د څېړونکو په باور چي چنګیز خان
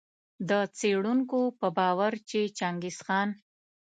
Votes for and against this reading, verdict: 2, 1, accepted